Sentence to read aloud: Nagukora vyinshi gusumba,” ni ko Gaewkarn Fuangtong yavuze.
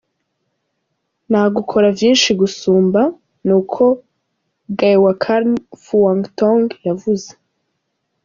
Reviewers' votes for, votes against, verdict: 2, 0, accepted